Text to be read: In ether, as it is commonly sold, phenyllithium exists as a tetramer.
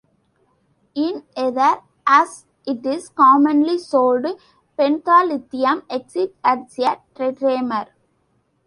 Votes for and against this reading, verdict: 0, 2, rejected